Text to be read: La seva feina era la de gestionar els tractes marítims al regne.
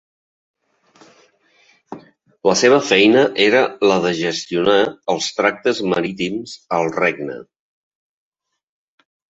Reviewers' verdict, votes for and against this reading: accepted, 4, 1